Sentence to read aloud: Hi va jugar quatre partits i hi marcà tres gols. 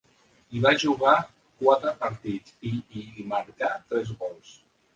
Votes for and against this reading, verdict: 2, 0, accepted